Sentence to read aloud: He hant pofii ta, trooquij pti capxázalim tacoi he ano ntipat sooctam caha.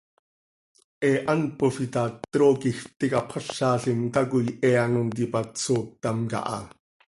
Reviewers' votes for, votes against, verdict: 2, 0, accepted